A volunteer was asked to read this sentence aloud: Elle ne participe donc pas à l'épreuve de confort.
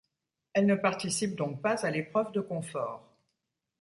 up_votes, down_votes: 2, 0